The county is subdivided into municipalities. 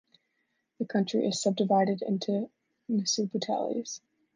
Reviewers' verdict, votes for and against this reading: rejected, 1, 2